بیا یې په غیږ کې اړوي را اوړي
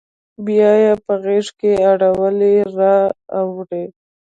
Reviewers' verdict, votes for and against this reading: accepted, 2, 0